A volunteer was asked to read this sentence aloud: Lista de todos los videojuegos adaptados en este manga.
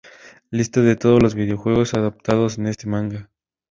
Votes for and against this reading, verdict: 6, 0, accepted